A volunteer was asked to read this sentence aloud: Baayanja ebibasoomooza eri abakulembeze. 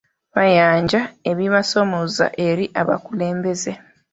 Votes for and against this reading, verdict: 2, 1, accepted